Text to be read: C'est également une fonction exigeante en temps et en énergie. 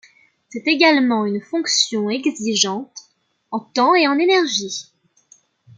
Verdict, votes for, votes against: accepted, 2, 0